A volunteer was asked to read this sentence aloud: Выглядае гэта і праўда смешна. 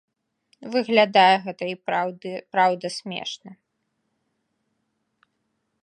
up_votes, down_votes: 0, 4